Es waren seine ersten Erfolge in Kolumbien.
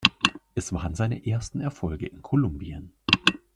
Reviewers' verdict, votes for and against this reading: accepted, 2, 0